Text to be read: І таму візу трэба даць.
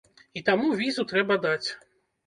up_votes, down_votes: 2, 1